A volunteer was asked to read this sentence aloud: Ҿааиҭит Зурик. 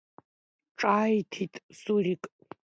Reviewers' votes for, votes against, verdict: 2, 1, accepted